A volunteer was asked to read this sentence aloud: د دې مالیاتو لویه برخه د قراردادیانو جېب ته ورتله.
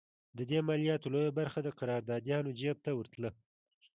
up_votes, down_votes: 2, 0